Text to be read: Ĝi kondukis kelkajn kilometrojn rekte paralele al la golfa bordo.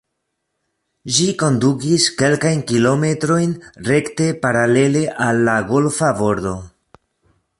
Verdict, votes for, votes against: rejected, 2, 3